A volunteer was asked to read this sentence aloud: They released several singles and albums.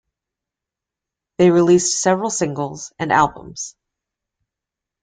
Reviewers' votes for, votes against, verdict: 2, 0, accepted